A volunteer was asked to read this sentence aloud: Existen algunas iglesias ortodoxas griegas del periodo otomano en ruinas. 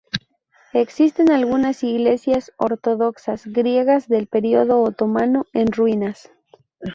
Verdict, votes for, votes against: accepted, 2, 0